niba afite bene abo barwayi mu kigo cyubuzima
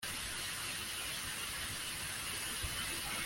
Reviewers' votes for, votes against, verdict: 0, 2, rejected